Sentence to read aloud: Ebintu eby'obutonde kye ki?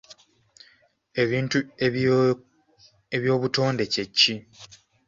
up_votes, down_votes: 1, 2